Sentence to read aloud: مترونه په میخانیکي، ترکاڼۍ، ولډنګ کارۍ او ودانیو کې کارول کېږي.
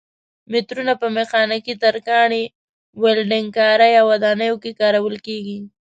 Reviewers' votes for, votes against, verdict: 0, 2, rejected